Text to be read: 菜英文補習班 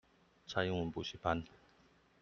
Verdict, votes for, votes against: accepted, 2, 0